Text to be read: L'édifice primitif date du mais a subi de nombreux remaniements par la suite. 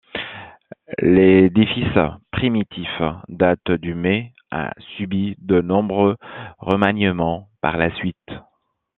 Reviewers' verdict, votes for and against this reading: accepted, 2, 0